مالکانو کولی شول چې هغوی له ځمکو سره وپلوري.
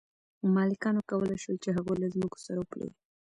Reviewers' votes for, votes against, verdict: 2, 1, accepted